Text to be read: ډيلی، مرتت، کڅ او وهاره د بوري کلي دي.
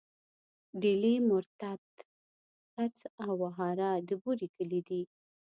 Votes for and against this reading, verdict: 2, 0, accepted